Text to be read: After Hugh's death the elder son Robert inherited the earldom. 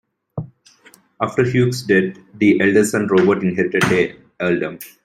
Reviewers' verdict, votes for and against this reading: rejected, 1, 2